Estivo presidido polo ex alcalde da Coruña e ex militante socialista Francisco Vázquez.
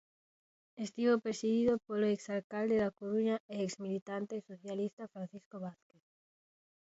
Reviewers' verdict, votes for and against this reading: rejected, 0, 2